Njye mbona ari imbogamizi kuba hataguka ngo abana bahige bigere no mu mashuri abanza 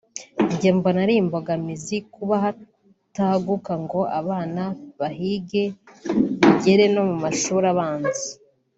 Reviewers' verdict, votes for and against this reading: accepted, 3, 0